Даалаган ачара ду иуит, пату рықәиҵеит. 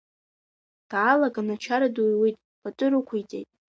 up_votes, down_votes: 2, 0